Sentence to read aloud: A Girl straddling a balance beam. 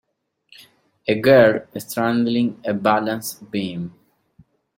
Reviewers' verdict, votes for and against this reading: accepted, 2, 1